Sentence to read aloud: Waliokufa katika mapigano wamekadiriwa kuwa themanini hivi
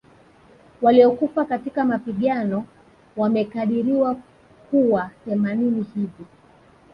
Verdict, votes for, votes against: rejected, 1, 2